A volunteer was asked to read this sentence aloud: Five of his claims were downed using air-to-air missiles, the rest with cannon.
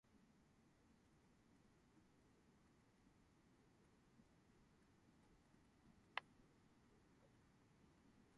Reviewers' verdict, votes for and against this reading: rejected, 0, 2